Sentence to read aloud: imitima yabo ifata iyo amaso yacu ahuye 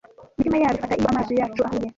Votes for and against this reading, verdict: 0, 2, rejected